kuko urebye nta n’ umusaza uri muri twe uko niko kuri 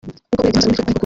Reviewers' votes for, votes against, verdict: 0, 3, rejected